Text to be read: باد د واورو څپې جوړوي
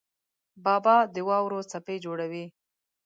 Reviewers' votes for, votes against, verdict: 1, 2, rejected